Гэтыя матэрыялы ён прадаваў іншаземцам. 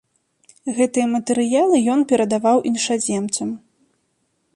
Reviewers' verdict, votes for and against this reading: rejected, 1, 2